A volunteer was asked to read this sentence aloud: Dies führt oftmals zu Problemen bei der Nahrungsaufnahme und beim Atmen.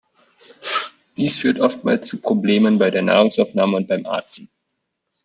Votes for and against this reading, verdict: 1, 2, rejected